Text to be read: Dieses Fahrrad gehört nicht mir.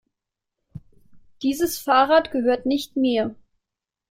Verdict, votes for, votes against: accepted, 2, 0